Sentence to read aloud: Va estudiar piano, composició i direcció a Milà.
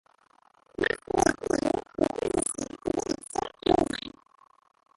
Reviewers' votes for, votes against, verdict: 0, 2, rejected